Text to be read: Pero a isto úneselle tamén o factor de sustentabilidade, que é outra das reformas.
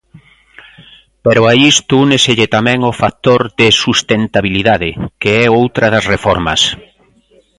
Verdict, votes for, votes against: accepted, 2, 0